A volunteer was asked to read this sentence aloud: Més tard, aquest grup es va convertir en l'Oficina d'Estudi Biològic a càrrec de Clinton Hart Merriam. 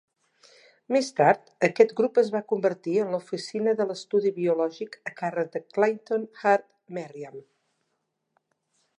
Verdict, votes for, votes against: rejected, 0, 2